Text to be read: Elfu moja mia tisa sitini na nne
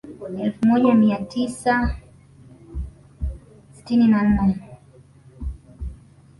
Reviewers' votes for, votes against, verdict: 1, 2, rejected